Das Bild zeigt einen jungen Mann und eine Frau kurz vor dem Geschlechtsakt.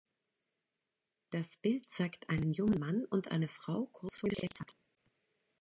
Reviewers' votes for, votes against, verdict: 1, 3, rejected